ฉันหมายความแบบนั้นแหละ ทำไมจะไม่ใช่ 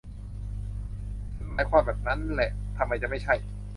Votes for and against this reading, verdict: 0, 2, rejected